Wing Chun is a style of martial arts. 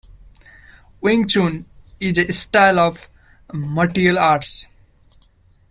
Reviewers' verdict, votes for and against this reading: rejected, 0, 2